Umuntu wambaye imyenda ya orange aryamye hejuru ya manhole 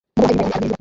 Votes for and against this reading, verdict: 0, 2, rejected